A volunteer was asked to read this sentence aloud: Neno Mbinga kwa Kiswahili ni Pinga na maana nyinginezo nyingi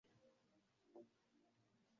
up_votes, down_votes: 0, 2